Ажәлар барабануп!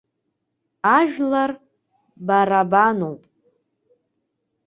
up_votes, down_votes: 2, 0